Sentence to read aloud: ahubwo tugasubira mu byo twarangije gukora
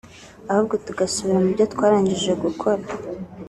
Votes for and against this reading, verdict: 2, 1, accepted